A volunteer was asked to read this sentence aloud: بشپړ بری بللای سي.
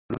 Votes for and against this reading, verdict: 0, 2, rejected